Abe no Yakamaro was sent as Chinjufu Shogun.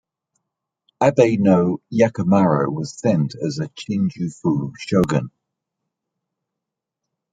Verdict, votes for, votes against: accepted, 2, 1